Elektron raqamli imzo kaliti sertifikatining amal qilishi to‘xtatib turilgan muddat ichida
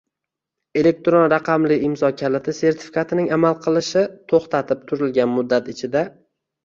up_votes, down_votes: 2, 0